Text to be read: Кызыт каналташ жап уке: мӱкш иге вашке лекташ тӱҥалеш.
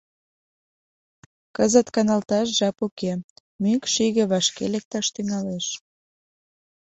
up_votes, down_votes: 2, 0